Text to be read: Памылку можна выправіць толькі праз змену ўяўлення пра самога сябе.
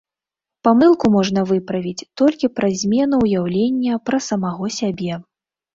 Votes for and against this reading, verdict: 1, 2, rejected